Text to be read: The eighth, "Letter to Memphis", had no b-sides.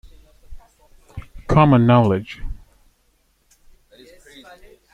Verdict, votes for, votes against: rejected, 0, 2